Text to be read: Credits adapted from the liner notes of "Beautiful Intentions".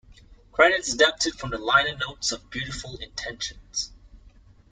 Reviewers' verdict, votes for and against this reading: accepted, 2, 1